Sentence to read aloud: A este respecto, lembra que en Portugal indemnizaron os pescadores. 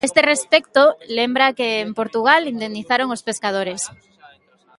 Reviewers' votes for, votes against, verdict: 0, 2, rejected